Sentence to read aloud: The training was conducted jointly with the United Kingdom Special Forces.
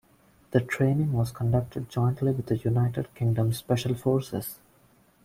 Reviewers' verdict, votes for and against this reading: accepted, 2, 1